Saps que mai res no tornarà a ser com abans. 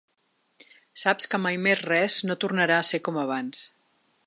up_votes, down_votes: 1, 2